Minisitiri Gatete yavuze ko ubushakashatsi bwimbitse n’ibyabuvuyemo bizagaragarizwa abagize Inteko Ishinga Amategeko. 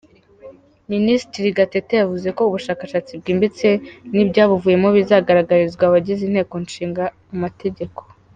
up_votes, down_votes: 3, 1